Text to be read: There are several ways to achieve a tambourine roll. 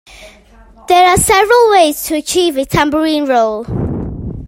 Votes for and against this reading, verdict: 2, 0, accepted